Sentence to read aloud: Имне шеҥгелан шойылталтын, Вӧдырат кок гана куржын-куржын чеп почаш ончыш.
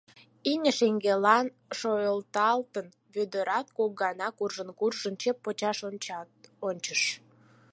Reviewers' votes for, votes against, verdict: 0, 4, rejected